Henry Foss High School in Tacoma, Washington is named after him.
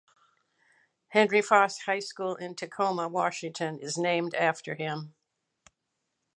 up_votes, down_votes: 2, 0